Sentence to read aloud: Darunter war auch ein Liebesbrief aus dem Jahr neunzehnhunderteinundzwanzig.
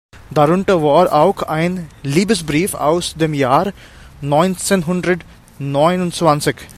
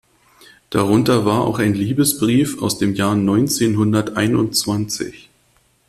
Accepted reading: second